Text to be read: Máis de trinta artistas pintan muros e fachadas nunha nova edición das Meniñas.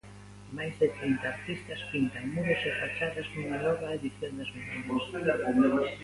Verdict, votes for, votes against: rejected, 0, 2